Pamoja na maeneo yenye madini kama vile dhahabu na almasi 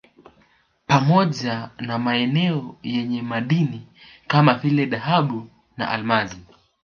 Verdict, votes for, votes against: rejected, 0, 2